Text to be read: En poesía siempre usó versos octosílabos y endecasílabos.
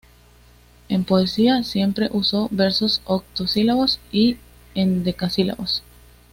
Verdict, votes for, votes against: accepted, 2, 0